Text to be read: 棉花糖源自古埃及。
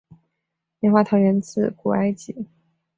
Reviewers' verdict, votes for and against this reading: accepted, 2, 0